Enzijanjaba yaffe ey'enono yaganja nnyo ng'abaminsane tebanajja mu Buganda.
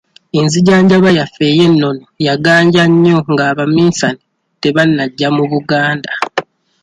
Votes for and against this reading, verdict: 2, 0, accepted